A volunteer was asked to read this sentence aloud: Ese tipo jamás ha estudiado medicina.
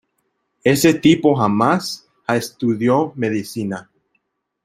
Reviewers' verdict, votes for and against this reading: rejected, 0, 2